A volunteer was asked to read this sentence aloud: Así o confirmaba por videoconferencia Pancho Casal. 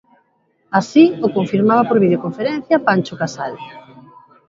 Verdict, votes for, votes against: accepted, 2, 0